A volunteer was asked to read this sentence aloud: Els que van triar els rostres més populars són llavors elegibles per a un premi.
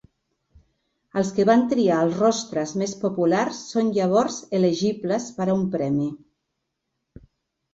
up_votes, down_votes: 3, 0